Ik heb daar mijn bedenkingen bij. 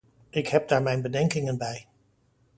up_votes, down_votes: 2, 0